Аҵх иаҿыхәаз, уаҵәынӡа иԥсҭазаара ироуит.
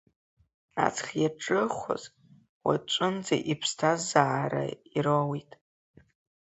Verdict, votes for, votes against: accepted, 2, 1